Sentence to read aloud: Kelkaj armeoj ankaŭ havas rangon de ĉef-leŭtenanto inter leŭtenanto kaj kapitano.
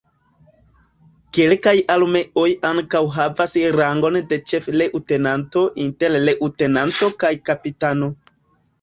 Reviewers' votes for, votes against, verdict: 2, 0, accepted